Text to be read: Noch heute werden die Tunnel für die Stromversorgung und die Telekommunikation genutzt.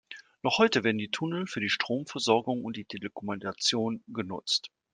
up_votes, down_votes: 2, 1